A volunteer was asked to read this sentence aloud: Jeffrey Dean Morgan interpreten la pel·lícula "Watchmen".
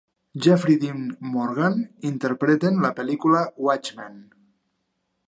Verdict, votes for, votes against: accepted, 3, 0